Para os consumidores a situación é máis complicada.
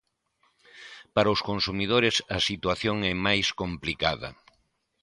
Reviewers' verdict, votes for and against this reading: accepted, 2, 0